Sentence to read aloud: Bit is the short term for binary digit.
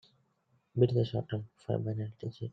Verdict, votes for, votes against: rejected, 0, 2